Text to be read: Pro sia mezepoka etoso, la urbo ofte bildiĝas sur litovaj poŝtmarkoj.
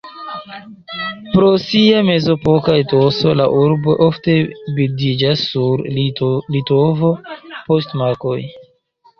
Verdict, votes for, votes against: rejected, 0, 2